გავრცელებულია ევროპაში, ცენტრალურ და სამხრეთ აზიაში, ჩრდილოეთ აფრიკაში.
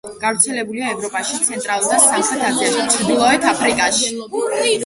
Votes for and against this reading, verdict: 1, 2, rejected